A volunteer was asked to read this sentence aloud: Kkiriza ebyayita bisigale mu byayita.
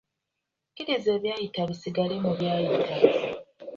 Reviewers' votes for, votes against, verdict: 1, 2, rejected